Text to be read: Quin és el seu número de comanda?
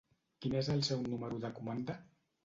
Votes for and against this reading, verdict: 1, 2, rejected